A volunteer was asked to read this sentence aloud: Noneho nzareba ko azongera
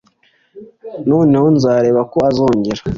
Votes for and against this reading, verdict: 2, 0, accepted